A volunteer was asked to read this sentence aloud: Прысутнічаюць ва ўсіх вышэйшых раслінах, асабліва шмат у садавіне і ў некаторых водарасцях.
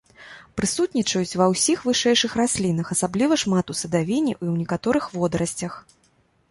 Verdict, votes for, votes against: accepted, 2, 0